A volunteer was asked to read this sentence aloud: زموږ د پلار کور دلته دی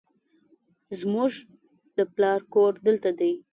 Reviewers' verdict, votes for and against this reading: accepted, 2, 0